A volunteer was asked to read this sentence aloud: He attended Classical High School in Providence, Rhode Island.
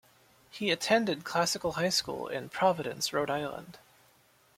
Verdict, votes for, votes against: accepted, 2, 0